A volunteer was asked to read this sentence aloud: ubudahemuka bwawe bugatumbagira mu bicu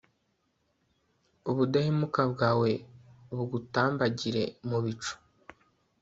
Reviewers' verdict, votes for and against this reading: rejected, 1, 2